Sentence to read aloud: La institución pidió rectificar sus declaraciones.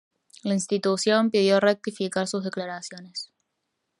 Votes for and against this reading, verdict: 1, 2, rejected